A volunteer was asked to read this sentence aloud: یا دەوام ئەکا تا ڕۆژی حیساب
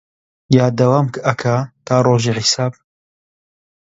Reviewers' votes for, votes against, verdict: 0, 2, rejected